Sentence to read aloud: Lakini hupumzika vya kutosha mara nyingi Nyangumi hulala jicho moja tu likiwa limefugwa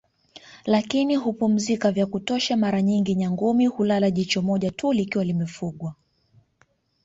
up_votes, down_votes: 2, 1